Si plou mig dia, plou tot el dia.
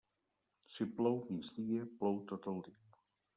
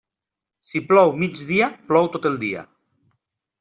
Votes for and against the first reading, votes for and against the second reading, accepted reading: 1, 2, 3, 0, second